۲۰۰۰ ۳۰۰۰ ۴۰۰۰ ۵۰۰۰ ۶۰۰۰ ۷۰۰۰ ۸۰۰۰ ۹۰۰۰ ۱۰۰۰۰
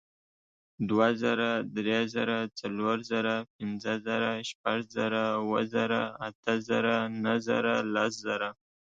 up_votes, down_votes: 0, 2